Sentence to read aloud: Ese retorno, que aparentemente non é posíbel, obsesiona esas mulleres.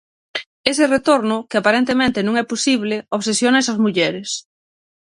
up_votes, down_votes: 0, 6